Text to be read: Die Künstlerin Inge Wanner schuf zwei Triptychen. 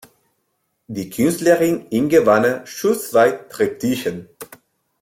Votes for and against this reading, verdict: 0, 2, rejected